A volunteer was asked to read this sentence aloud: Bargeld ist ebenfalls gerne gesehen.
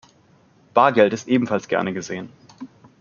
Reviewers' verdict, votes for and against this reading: accepted, 2, 0